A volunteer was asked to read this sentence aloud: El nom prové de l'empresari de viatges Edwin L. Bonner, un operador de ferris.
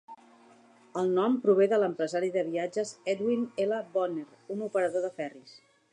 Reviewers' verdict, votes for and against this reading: accepted, 3, 0